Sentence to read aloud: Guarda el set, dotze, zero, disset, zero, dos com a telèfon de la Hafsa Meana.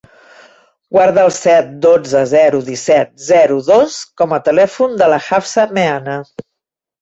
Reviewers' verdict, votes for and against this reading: accepted, 3, 0